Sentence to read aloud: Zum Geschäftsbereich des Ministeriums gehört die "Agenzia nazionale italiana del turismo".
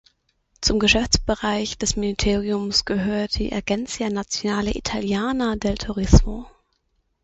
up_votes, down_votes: 0, 6